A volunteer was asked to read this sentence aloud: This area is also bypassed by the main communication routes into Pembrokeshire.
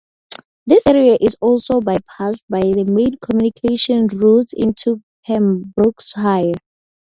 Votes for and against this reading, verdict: 0, 4, rejected